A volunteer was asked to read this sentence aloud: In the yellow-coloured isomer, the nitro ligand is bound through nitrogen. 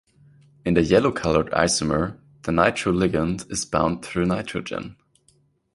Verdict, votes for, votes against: accepted, 2, 0